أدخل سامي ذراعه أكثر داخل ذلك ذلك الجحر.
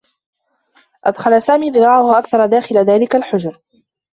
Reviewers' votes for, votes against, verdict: 0, 2, rejected